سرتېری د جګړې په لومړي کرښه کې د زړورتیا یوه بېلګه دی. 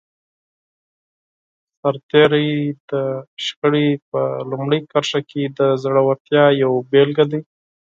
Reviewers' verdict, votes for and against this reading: accepted, 4, 2